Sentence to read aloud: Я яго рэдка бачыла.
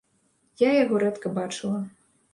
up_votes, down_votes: 2, 0